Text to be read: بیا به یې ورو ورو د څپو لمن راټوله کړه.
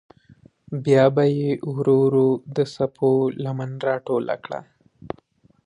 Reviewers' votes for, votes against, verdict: 2, 0, accepted